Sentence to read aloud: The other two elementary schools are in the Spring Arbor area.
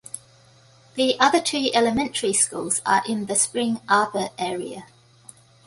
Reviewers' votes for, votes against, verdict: 2, 0, accepted